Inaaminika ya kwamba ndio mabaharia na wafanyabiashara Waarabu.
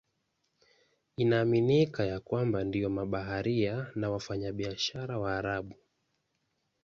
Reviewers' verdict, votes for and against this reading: accepted, 2, 0